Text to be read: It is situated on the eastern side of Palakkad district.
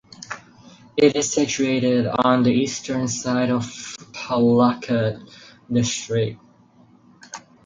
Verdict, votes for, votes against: accepted, 4, 0